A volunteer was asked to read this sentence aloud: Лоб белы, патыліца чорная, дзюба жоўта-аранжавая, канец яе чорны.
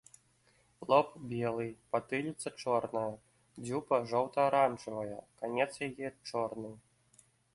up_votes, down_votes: 2, 0